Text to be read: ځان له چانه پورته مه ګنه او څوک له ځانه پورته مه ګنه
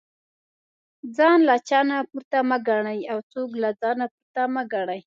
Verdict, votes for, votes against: rejected, 1, 2